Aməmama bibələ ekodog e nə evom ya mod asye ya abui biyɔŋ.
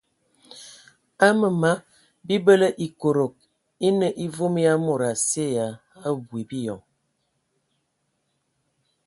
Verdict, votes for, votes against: accepted, 2, 0